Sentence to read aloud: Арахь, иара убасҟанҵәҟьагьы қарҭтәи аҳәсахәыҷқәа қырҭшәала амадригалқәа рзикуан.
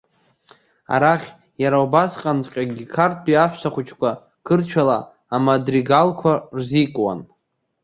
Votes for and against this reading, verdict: 2, 0, accepted